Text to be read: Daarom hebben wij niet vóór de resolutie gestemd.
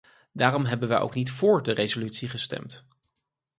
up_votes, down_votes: 0, 4